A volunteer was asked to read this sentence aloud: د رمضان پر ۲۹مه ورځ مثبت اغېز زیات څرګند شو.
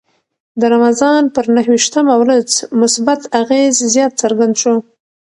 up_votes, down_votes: 0, 2